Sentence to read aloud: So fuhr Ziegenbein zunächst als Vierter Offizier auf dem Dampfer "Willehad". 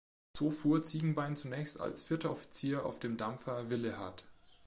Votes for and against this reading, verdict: 2, 0, accepted